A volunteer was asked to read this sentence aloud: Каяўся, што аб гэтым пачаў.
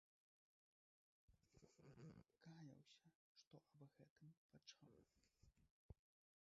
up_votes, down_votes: 1, 2